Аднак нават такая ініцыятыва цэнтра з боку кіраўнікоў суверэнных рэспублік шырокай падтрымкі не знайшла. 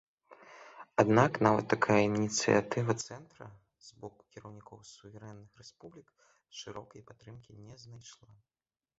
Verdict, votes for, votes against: rejected, 0, 2